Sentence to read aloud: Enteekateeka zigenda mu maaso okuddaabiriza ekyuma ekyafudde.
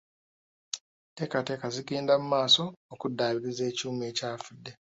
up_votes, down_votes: 2, 0